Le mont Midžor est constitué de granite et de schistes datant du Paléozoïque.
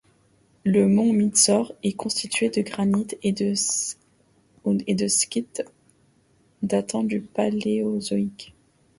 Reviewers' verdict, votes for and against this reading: rejected, 0, 2